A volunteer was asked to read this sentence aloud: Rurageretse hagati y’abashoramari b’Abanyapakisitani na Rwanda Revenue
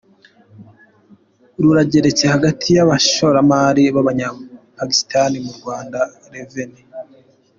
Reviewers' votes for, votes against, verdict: 0, 2, rejected